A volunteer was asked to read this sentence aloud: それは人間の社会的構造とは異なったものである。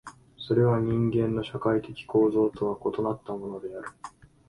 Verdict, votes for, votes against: accepted, 6, 0